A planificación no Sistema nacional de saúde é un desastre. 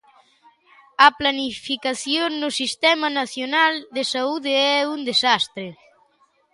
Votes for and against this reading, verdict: 2, 0, accepted